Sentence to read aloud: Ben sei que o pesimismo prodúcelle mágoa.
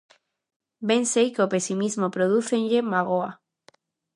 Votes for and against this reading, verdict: 0, 2, rejected